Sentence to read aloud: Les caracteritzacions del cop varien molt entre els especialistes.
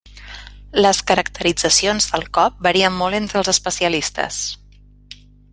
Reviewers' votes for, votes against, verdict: 3, 0, accepted